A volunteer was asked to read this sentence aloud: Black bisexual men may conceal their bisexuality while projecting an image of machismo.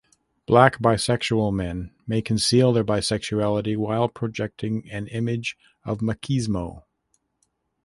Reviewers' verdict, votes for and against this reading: accepted, 2, 0